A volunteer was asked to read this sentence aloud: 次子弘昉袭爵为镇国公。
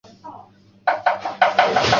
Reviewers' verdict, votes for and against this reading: rejected, 1, 4